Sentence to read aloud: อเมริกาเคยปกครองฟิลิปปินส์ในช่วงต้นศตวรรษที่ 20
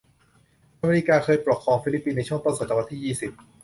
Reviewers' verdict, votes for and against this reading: rejected, 0, 2